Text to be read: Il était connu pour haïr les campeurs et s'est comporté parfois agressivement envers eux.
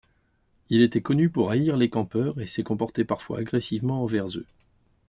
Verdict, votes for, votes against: accepted, 2, 0